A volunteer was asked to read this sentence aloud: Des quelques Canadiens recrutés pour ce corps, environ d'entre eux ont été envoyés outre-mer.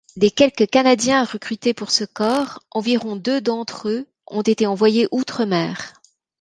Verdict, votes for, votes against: rejected, 1, 2